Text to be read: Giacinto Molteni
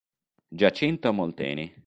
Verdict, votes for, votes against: accepted, 3, 0